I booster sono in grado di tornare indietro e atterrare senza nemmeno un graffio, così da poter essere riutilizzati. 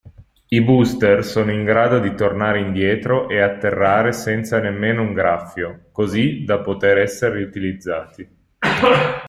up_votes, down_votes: 0, 2